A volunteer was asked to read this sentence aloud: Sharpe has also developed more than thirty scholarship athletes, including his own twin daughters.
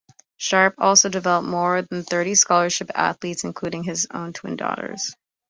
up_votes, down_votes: 1, 2